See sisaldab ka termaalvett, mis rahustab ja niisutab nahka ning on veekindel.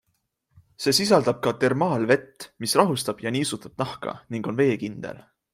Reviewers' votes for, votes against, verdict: 3, 0, accepted